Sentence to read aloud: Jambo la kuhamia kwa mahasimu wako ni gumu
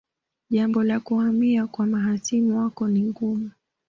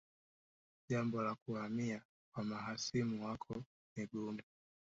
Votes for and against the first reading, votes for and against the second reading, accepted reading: 2, 0, 1, 3, first